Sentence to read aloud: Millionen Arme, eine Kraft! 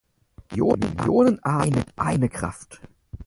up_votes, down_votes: 0, 6